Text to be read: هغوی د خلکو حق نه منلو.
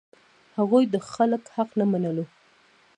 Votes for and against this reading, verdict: 0, 2, rejected